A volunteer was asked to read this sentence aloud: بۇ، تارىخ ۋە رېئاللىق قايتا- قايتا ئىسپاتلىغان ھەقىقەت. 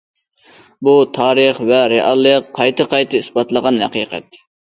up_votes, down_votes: 2, 0